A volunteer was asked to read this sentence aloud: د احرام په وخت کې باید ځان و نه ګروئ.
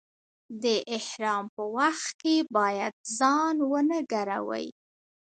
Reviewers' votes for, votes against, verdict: 0, 2, rejected